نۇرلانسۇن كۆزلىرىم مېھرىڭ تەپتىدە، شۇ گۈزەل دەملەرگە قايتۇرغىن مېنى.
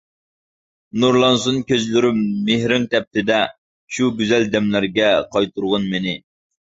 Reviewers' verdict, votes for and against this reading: accepted, 2, 0